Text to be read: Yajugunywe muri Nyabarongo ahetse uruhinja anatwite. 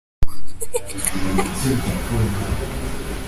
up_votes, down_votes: 0, 3